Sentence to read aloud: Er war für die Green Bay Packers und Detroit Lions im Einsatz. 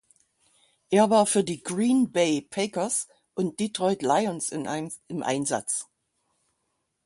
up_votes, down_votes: 0, 6